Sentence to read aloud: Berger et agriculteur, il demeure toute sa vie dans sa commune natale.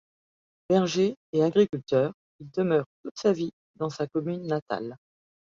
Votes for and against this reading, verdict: 2, 0, accepted